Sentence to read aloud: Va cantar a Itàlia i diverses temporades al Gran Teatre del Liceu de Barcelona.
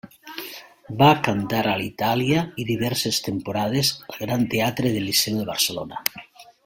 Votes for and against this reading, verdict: 2, 1, accepted